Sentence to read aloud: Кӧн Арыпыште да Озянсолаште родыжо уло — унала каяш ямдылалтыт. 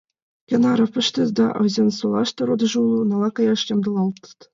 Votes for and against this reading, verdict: 2, 0, accepted